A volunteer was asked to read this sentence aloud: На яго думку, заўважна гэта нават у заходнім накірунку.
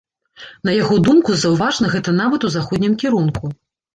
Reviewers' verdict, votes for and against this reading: rejected, 1, 2